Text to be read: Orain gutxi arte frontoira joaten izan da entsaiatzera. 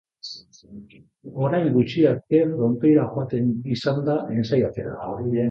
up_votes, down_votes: 0, 2